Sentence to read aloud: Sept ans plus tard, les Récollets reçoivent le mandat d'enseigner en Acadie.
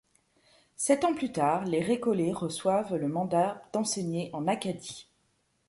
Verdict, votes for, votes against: accepted, 2, 0